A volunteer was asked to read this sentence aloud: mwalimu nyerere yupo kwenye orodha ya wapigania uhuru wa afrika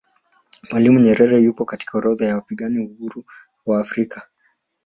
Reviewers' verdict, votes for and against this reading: rejected, 1, 2